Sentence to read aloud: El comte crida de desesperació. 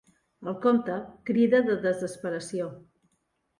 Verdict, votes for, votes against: accepted, 2, 0